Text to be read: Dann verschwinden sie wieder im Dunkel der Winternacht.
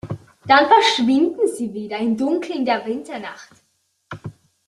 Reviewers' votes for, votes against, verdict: 2, 0, accepted